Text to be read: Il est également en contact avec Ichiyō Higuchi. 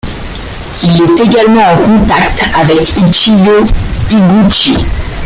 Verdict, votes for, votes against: rejected, 1, 2